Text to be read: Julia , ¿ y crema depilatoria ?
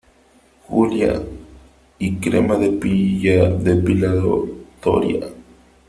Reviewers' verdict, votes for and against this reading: rejected, 1, 2